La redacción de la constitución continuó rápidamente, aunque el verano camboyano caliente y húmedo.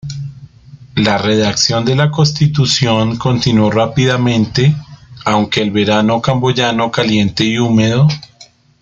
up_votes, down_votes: 2, 0